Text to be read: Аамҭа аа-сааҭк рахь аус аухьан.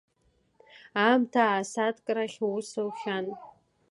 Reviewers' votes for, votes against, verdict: 2, 0, accepted